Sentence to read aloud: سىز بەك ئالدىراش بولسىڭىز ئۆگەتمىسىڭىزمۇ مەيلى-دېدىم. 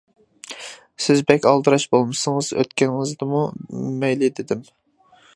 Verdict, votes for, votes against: rejected, 0, 2